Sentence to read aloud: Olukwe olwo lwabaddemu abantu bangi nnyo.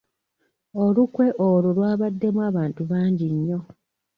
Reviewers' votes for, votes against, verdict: 2, 0, accepted